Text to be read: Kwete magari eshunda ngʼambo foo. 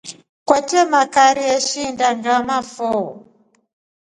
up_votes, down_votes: 3, 1